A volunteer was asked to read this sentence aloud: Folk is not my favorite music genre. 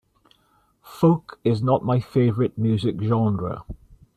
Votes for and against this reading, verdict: 2, 0, accepted